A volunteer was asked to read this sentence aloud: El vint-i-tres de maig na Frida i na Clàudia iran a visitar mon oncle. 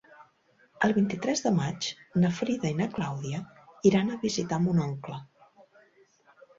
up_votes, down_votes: 5, 0